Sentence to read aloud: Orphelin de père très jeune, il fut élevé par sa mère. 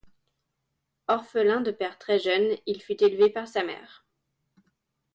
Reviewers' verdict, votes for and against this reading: accepted, 2, 0